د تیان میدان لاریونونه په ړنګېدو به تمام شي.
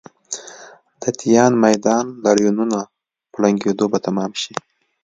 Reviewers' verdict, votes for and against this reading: accepted, 2, 0